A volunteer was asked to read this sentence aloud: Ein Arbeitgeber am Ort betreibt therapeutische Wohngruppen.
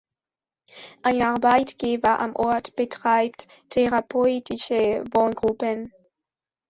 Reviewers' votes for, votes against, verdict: 2, 0, accepted